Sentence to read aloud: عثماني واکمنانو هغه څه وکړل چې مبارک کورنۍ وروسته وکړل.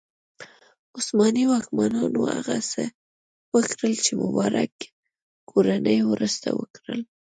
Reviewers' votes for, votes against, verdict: 1, 2, rejected